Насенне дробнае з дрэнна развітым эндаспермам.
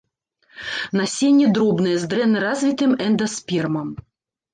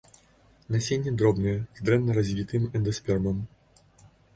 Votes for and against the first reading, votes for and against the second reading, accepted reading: 1, 2, 2, 0, second